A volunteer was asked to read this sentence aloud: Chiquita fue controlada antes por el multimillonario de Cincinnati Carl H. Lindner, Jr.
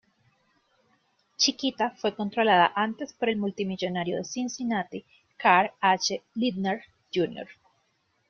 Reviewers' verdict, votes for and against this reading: rejected, 1, 2